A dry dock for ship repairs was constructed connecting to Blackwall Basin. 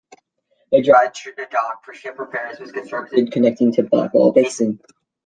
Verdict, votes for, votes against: rejected, 0, 2